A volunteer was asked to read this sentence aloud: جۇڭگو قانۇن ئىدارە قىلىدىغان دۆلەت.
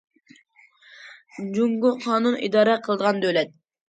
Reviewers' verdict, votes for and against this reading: accepted, 2, 0